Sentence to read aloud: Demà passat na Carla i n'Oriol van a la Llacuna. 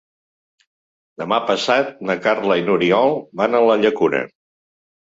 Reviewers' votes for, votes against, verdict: 2, 0, accepted